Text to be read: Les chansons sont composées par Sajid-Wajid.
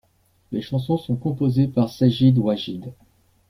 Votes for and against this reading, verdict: 2, 0, accepted